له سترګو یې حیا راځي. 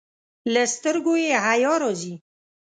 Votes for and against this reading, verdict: 2, 0, accepted